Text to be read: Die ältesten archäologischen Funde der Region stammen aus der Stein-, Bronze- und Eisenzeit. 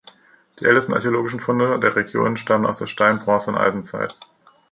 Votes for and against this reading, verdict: 2, 0, accepted